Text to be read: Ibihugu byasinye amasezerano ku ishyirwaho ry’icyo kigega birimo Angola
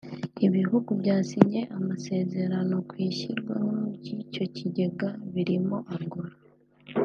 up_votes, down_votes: 2, 0